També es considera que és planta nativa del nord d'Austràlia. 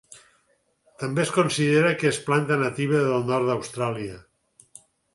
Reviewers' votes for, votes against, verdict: 4, 0, accepted